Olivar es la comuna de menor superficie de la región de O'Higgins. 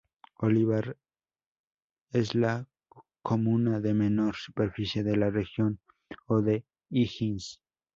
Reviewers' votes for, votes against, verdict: 2, 4, rejected